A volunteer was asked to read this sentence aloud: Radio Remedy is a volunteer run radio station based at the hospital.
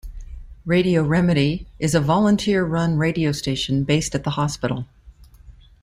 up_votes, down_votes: 2, 0